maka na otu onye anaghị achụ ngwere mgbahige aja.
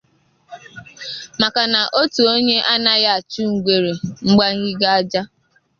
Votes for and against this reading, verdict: 1, 2, rejected